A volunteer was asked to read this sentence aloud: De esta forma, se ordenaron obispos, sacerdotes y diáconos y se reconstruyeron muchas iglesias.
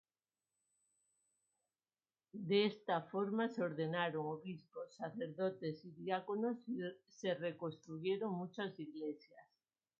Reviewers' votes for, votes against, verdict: 0, 2, rejected